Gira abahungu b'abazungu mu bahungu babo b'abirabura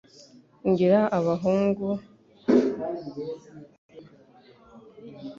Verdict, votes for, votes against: rejected, 1, 3